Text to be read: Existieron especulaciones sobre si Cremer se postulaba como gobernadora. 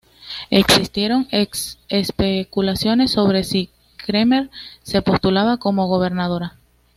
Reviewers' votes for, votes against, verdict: 1, 2, rejected